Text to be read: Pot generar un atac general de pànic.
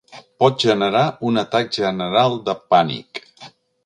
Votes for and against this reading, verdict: 3, 0, accepted